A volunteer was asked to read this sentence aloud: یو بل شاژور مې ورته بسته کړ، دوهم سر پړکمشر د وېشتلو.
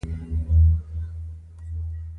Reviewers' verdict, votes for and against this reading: accepted, 2, 1